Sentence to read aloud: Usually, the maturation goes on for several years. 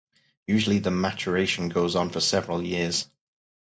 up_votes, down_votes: 2, 2